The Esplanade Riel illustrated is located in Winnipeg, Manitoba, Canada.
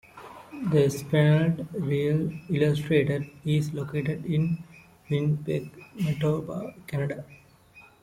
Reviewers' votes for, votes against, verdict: 2, 1, accepted